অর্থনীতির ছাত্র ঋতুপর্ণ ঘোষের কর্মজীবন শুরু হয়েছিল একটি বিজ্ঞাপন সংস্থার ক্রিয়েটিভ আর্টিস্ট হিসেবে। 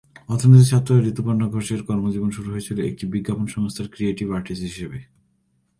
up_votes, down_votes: 1, 2